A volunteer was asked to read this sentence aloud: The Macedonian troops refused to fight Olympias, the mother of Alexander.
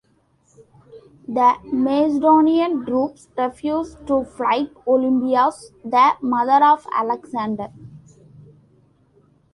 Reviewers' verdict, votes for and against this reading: rejected, 0, 2